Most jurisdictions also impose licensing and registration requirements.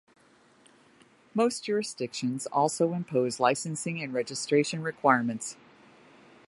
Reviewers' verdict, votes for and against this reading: accepted, 2, 0